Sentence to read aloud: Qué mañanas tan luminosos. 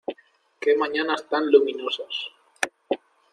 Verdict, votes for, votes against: rejected, 1, 2